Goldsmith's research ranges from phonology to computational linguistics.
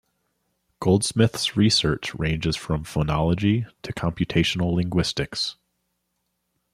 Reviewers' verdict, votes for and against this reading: accepted, 2, 0